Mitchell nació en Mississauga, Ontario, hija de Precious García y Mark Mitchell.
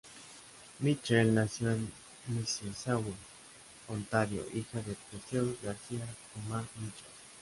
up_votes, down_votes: 0, 2